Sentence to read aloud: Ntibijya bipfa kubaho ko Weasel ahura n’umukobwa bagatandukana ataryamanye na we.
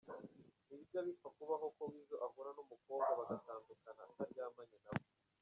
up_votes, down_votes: 1, 2